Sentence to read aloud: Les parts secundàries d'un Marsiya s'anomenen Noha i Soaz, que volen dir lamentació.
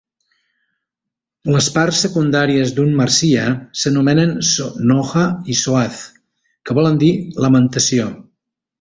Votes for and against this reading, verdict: 1, 2, rejected